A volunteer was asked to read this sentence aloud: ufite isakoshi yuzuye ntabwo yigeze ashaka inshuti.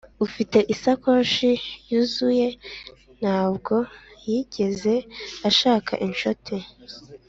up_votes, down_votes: 2, 0